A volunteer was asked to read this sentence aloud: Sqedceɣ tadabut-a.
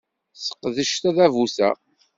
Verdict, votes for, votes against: rejected, 1, 2